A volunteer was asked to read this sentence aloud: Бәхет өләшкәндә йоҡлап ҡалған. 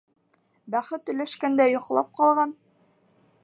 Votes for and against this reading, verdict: 1, 2, rejected